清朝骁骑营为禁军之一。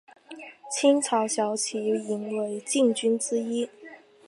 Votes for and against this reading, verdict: 3, 0, accepted